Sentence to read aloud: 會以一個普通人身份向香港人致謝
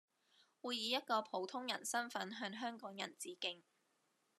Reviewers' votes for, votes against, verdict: 0, 2, rejected